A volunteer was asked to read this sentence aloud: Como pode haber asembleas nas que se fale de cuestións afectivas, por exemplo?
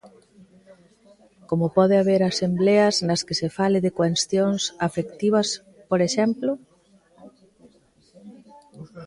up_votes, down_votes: 2, 1